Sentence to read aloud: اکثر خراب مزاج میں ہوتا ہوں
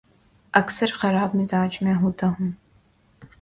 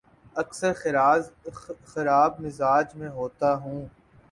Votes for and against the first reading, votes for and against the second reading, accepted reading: 2, 0, 0, 2, first